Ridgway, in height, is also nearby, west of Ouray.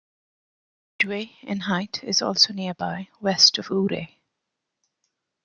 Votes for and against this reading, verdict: 0, 2, rejected